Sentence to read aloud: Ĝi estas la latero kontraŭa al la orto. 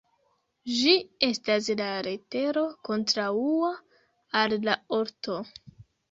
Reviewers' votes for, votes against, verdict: 1, 2, rejected